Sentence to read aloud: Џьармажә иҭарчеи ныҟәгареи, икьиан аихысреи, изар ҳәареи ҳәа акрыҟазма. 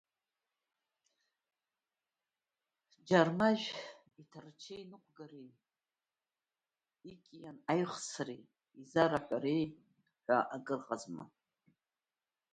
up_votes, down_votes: 0, 2